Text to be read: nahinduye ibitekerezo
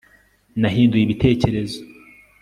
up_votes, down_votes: 2, 0